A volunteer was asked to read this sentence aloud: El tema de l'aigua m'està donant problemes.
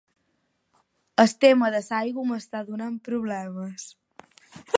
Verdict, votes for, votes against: rejected, 0, 10